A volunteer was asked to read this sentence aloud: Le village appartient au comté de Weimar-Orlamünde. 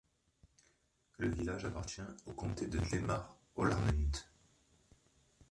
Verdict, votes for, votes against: rejected, 1, 2